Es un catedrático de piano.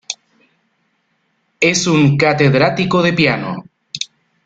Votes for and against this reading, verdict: 2, 0, accepted